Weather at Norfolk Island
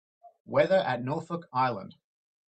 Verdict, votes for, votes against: accepted, 2, 0